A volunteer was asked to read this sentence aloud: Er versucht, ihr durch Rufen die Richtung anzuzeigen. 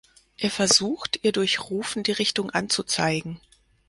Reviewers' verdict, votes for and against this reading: accepted, 4, 0